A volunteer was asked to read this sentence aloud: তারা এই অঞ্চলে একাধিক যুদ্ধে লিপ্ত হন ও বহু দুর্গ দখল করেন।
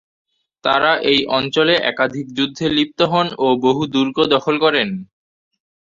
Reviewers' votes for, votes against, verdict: 2, 0, accepted